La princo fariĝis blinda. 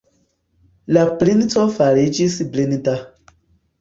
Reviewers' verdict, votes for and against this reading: accepted, 2, 1